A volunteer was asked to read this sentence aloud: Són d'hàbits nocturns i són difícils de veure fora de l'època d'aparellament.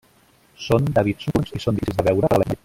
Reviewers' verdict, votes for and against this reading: rejected, 0, 2